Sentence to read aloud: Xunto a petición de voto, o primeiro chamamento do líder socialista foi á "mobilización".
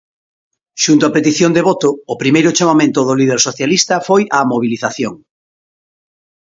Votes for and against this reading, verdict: 2, 0, accepted